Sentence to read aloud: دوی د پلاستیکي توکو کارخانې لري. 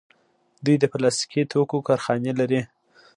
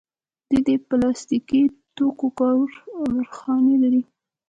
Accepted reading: first